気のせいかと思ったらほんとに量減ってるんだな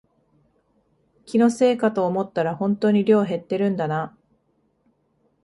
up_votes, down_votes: 2, 0